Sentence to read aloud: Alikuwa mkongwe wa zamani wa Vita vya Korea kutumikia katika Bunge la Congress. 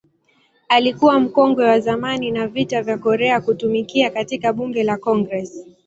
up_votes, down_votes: 0, 2